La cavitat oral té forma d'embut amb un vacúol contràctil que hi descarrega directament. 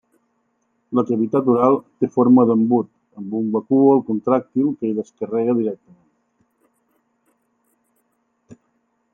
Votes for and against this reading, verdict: 0, 2, rejected